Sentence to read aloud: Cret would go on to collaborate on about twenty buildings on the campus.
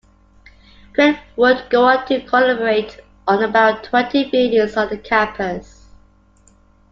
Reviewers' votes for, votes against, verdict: 2, 0, accepted